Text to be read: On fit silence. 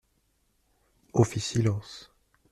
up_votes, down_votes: 0, 2